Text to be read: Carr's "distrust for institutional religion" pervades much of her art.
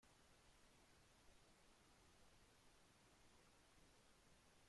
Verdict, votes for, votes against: rejected, 0, 2